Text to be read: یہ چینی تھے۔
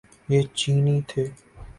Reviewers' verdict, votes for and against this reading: accepted, 2, 1